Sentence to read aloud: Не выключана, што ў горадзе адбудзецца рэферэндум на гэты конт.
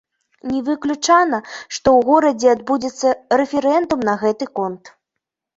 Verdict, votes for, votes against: rejected, 0, 2